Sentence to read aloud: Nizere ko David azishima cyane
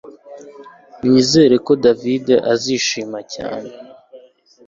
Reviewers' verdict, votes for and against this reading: accepted, 2, 0